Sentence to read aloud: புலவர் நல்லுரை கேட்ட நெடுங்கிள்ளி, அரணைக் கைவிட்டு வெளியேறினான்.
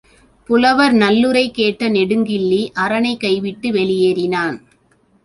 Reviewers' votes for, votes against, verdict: 2, 0, accepted